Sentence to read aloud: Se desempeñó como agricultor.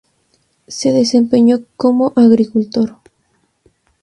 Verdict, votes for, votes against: rejected, 0, 2